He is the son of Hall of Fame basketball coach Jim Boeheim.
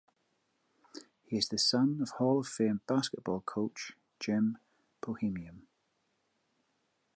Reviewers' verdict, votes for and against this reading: rejected, 1, 2